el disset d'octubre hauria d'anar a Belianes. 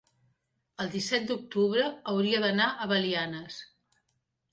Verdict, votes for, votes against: accepted, 2, 0